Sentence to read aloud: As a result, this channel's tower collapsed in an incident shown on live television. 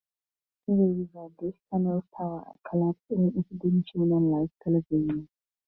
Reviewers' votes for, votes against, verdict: 0, 4, rejected